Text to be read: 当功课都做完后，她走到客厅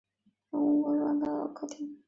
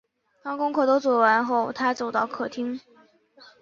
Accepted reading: second